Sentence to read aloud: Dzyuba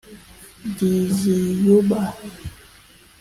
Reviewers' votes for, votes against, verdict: 0, 2, rejected